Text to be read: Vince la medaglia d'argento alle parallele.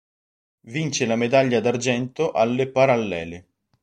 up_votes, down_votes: 2, 0